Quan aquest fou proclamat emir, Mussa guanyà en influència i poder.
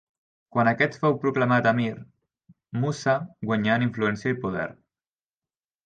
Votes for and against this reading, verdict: 3, 0, accepted